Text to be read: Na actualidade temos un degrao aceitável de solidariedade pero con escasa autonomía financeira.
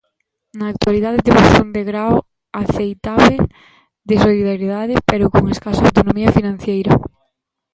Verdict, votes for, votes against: rejected, 0, 2